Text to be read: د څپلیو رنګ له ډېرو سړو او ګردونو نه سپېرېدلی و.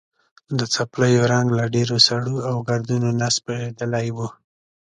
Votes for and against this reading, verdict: 2, 0, accepted